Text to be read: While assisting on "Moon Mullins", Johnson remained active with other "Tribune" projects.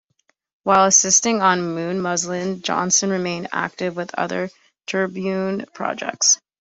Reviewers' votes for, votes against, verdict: 0, 2, rejected